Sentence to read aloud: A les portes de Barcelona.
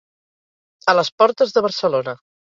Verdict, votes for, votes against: accepted, 6, 0